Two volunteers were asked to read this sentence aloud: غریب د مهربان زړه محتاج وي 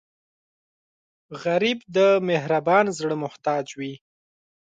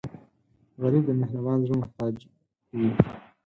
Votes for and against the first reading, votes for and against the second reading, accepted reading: 3, 0, 2, 4, first